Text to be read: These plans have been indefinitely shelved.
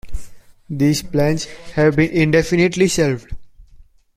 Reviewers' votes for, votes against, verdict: 2, 0, accepted